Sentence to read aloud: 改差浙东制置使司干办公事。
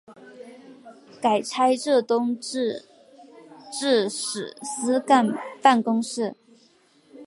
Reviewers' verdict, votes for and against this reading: accepted, 2, 0